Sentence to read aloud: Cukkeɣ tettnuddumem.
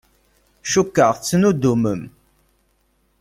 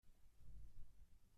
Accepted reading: first